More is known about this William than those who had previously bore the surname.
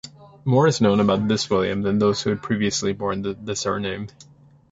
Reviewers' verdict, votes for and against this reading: rejected, 1, 2